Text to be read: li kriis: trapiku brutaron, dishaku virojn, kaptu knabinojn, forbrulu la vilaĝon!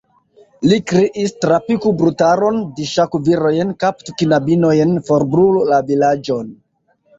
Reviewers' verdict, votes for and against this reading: accepted, 2, 0